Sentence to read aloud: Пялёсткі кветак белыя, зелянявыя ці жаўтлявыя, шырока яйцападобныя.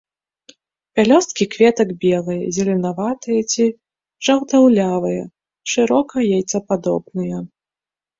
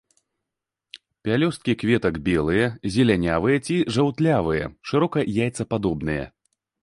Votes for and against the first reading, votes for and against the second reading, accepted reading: 0, 2, 2, 0, second